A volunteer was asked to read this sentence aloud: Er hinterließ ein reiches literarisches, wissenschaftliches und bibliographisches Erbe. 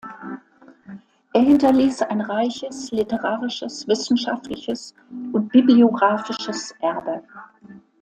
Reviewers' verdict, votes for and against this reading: accepted, 2, 0